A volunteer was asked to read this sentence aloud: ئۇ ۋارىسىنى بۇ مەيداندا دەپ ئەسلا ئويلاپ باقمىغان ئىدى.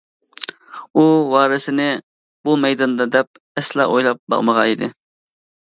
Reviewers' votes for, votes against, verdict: 2, 0, accepted